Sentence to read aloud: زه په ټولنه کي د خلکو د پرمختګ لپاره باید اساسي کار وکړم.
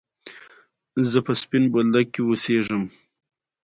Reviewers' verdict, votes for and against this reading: accepted, 2, 1